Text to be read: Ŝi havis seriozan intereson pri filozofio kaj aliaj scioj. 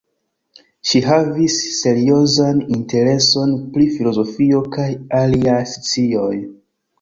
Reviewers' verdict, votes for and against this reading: accepted, 2, 1